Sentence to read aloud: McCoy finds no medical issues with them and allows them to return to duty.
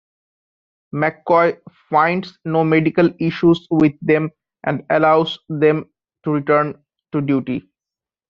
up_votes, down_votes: 1, 2